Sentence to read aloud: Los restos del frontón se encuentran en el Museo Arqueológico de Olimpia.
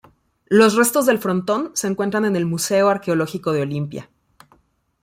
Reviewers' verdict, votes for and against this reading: accepted, 2, 0